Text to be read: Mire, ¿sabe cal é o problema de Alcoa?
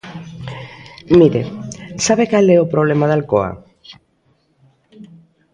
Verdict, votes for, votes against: accepted, 2, 0